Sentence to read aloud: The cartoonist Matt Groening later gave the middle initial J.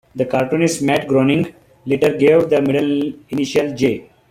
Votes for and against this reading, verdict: 2, 0, accepted